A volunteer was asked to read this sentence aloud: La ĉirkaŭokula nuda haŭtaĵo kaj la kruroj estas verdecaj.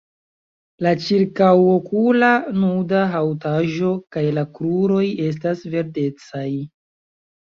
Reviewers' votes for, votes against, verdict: 2, 0, accepted